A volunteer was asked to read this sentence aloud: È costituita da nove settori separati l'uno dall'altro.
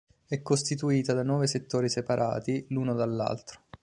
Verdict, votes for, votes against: accepted, 2, 0